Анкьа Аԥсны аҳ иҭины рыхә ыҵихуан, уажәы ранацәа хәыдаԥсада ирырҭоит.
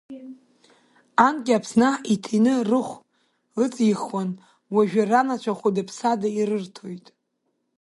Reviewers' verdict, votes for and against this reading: rejected, 0, 2